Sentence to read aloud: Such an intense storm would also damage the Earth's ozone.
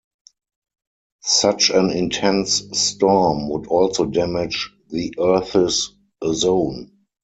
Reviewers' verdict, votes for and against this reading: rejected, 0, 4